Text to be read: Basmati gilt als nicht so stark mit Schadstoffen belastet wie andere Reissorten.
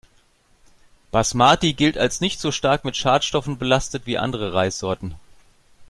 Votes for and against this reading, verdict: 2, 0, accepted